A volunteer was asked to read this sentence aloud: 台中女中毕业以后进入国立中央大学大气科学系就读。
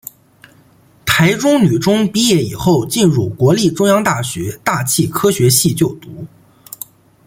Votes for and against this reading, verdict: 2, 0, accepted